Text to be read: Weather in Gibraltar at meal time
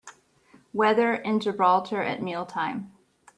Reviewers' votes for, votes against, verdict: 2, 0, accepted